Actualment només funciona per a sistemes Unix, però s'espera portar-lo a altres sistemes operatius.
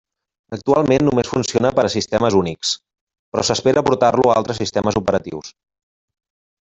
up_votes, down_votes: 2, 1